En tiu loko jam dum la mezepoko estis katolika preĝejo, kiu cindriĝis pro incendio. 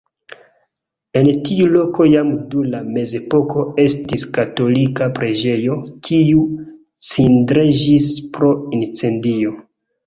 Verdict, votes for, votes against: rejected, 0, 2